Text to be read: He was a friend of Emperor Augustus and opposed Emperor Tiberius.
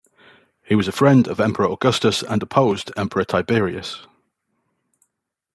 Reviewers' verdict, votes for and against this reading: accepted, 2, 0